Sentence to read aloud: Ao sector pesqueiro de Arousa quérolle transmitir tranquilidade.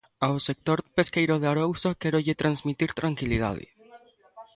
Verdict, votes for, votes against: accepted, 3, 1